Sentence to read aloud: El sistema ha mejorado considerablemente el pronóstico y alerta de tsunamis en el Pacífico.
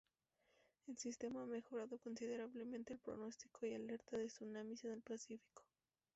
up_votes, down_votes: 2, 0